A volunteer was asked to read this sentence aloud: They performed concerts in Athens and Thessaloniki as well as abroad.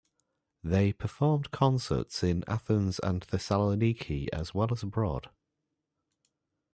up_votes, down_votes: 2, 0